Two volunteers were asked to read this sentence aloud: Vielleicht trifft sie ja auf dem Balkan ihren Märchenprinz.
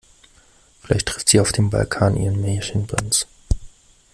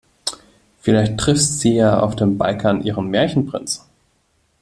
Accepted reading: first